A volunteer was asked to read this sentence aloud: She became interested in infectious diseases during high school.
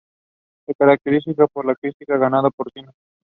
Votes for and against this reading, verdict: 0, 2, rejected